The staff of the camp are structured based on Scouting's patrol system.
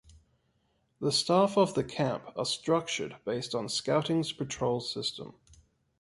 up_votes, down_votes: 2, 0